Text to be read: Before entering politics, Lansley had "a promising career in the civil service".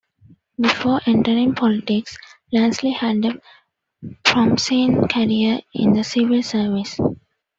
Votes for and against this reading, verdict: 2, 0, accepted